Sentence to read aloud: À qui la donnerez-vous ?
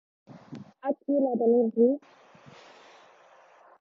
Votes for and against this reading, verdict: 1, 2, rejected